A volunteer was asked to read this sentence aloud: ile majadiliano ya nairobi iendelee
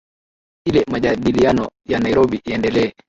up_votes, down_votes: 4, 5